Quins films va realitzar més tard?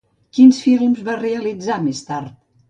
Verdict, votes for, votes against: accepted, 2, 0